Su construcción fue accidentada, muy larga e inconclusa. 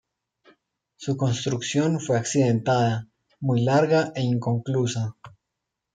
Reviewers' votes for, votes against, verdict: 2, 0, accepted